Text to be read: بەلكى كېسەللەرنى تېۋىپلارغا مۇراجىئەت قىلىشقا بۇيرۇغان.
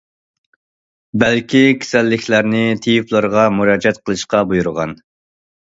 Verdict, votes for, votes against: rejected, 1, 2